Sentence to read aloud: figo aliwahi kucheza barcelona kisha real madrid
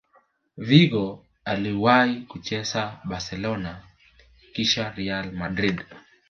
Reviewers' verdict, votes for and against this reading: rejected, 0, 2